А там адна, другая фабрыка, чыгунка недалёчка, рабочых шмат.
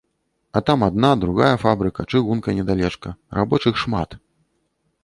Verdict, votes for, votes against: rejected, 1, 2